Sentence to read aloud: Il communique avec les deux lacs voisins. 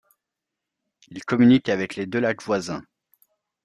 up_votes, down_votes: 2, 0